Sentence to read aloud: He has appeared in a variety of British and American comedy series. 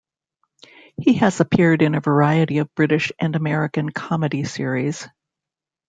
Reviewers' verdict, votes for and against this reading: rejected, 0, 2